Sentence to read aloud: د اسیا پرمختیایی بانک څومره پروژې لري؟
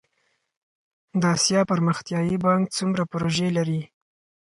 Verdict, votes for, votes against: accepted, 4, 0